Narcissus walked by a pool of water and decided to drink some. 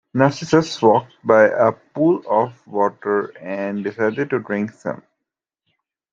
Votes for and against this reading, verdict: 2, 0, accepted